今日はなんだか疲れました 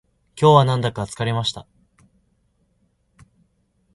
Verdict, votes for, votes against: accepted, 2, 0